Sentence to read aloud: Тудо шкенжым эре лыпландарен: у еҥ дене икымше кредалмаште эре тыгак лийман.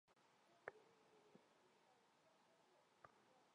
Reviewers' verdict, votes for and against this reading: rejected, 1, 2